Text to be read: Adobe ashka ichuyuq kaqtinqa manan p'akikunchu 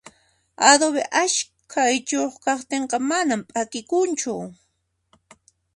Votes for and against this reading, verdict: 2, 0, accepted